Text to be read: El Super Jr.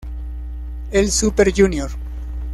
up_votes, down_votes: 1, 2